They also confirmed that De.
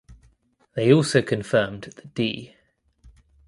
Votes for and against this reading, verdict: 0, 2, rejected